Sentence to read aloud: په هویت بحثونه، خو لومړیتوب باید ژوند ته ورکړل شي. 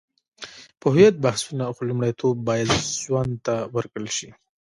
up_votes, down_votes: 1, 2